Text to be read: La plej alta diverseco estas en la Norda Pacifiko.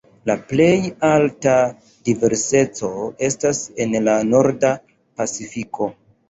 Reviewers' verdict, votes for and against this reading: rejected, 0, 2